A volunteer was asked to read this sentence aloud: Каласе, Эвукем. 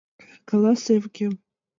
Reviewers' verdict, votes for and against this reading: accepted, 2, 1